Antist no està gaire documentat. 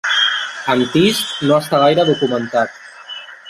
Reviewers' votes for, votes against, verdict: 1, 2, rejected